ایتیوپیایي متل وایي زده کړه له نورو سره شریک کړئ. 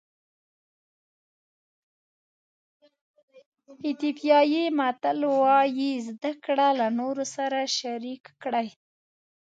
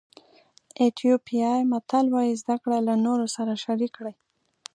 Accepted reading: second